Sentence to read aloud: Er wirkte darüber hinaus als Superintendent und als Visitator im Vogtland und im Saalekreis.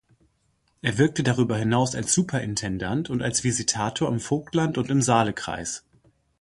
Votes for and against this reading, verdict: 0, 2, rejected